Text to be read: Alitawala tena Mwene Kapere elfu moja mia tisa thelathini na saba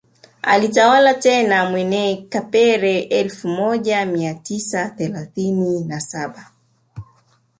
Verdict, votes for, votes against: accepted, 3, 0